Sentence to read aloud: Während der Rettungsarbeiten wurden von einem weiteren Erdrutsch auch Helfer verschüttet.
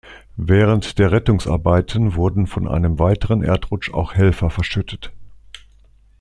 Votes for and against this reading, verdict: 2, 0, accepted